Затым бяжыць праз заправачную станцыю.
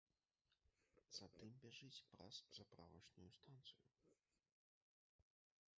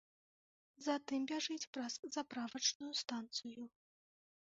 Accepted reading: second